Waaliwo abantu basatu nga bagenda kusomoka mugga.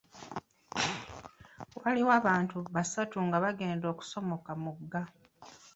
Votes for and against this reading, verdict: 1, 2, rejected